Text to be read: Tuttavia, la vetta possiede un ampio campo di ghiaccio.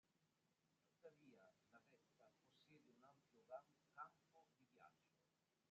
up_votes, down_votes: 0, 3